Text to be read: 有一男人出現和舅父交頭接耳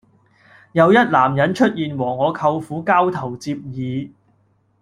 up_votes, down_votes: 0, 2